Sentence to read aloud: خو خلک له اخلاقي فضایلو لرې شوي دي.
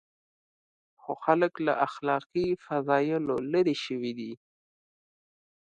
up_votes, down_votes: 2, 0